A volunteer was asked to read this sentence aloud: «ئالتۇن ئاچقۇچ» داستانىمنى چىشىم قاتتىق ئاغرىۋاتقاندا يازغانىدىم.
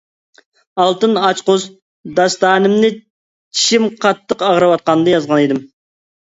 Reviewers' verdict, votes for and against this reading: rejected, 1, 2